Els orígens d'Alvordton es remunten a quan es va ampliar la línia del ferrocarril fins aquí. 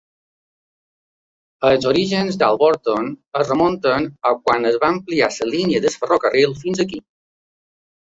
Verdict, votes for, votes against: rejected, 0, 2